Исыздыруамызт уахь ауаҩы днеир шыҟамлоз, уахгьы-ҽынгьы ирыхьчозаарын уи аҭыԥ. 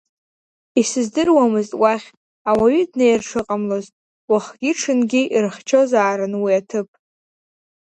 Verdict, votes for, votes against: accepted, 2, 1